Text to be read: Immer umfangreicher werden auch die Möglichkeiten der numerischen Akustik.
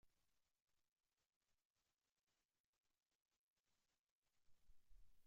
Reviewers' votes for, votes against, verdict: 0, 2, rejected